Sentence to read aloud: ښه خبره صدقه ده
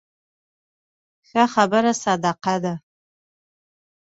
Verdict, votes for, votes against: accepted, 2, 0